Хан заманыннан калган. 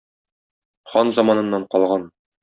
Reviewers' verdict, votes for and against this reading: accepted, 2, 0